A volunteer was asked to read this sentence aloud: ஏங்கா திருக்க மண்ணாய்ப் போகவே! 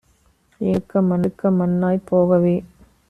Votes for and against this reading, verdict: 1, 2, rejected